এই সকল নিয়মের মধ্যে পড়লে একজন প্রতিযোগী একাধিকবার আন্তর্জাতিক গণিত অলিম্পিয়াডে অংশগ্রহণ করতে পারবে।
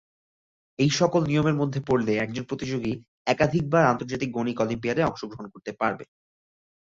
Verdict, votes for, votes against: accepted, 2, 1